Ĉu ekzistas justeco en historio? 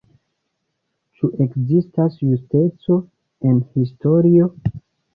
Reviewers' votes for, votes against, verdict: 0, 2, rejected